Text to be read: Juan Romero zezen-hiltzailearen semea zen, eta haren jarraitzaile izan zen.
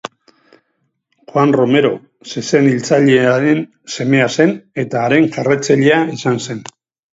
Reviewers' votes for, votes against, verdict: 2, 2, rejected